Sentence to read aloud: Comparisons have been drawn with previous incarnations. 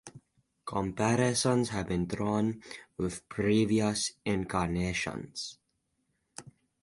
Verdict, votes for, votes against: accepted, 4, 0